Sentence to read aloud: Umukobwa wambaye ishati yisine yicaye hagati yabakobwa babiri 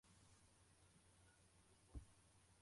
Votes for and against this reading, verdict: 0, 2, rejected